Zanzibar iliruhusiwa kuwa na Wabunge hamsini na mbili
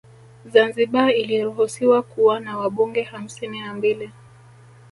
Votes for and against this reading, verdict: 2, 0, accepted